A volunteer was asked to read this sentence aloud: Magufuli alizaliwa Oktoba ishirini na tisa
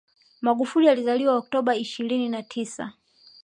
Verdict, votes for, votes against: accepted, 2, 0